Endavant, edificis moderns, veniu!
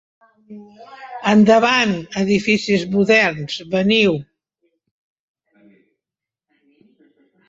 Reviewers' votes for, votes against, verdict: 1, 2, rejected